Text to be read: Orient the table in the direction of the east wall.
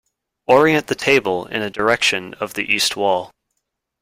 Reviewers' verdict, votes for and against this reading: accepted, 2, 0